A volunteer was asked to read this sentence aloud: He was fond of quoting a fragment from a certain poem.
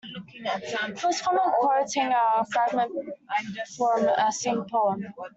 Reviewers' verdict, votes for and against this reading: rejected, 0, 2